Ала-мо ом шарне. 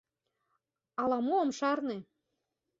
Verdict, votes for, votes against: accepted, 2, 0